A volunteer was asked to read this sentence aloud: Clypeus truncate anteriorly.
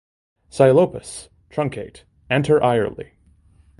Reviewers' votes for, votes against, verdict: 1, 2, rejected